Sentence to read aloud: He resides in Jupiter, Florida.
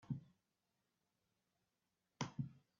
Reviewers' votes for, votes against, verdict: 0, 2, rejected